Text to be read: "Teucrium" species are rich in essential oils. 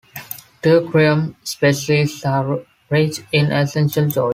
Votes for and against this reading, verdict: 0, 2, rejected